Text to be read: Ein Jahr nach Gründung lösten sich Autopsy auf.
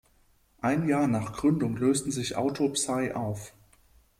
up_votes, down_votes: 1, 2